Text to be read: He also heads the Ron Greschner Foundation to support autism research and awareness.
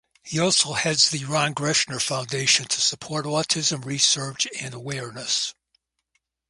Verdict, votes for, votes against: rejected, 2, 2